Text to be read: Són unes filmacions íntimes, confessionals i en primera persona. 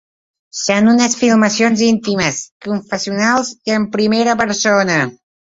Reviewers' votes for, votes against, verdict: 3, 0, accepted